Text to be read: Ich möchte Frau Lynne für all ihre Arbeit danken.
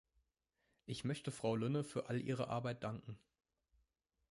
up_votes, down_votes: 2, 0